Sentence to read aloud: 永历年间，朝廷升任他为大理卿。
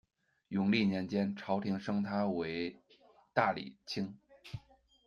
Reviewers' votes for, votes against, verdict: 0, 2, rejected